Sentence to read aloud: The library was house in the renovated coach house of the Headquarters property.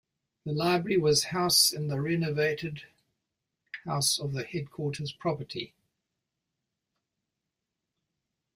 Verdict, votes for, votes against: rejected, 1, 2